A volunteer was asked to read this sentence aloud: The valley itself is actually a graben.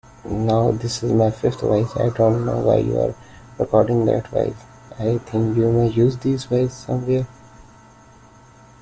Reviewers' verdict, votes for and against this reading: rejected, 0, 2